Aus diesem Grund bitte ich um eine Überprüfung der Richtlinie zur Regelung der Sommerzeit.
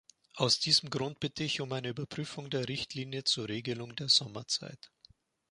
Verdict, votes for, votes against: accepted, 2, 0